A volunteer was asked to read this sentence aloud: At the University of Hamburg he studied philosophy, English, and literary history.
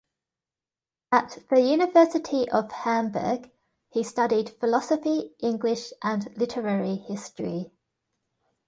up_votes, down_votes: 2, 0